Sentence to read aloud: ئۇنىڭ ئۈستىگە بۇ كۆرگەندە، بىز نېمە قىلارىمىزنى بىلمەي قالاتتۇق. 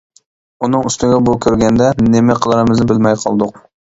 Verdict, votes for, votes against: rejected, 0, 2